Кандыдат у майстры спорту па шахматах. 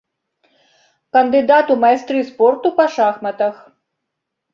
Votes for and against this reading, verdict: 2, 0, accepted